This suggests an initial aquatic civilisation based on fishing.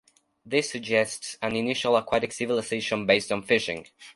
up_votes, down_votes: 2, 0